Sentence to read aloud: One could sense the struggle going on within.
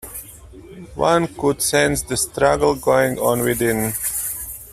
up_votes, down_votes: 0, 2